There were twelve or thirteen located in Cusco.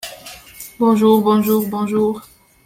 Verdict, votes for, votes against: rejected, 0, 2